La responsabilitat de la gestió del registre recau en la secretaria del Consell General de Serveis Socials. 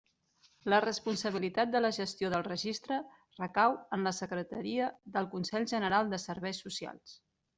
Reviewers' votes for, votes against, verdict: 3, 0, accepted